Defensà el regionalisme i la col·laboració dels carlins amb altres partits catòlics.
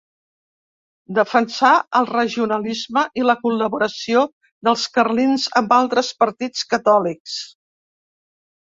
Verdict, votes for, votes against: accepted, 2, 0